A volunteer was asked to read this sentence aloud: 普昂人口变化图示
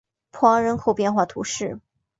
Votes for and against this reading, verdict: 2, 0, accepted